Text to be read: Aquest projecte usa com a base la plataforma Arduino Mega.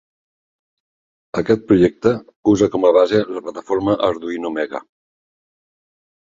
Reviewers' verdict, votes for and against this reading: accepted, 3, 0